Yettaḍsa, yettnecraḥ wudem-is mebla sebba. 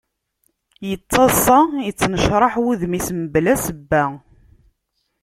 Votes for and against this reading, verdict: 0, 2, rejected